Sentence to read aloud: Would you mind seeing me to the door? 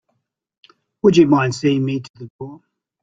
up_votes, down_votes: 0, 2